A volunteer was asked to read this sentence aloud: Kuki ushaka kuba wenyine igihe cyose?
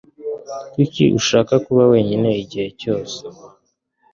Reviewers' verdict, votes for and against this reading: accepted, 2, 0